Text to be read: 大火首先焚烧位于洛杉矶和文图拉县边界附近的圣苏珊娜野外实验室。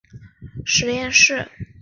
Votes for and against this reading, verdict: 4, 2, accepted